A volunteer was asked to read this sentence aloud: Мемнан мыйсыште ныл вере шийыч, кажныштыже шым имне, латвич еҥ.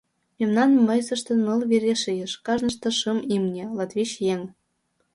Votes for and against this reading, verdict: 1, 2, rejected